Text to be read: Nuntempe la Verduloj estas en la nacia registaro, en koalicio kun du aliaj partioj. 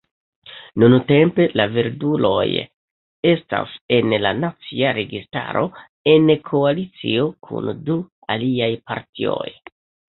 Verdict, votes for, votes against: rejected, 1, 2